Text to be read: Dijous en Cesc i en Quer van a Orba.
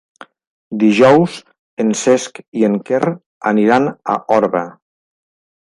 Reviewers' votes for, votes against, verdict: 0, 4, rejected